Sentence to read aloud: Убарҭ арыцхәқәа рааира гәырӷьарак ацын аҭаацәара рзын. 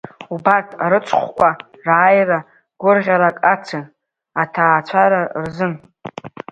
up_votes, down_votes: 2, 0